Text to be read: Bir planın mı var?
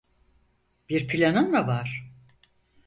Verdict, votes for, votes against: accepted, 4, 0